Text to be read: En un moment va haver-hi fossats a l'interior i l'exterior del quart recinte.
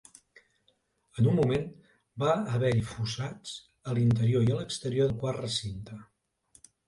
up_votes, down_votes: 1, 2